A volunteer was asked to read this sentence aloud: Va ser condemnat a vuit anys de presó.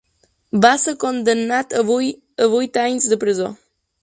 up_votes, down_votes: 0, 2